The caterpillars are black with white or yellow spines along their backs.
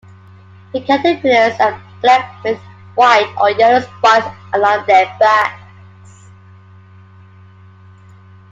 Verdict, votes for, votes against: accepted, 2, 1